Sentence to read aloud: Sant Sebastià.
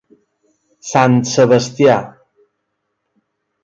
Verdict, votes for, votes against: accepted, 4, 0